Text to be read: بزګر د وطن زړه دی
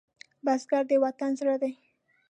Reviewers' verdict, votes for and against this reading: accepted, 2, 0